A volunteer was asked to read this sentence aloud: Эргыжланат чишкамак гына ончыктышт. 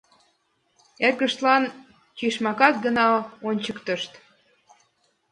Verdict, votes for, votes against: rejected, 0, 2